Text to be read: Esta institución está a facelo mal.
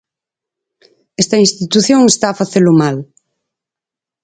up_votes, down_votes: 4, 0